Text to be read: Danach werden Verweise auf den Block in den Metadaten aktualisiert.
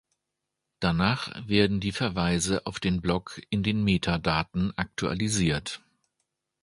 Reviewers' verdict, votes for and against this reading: rejected, 1, 2